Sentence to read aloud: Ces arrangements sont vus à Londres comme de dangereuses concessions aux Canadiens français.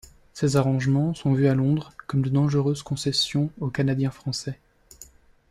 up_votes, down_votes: 1, 2